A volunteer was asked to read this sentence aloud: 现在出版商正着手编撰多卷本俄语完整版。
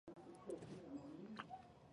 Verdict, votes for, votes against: rejected, 0, 2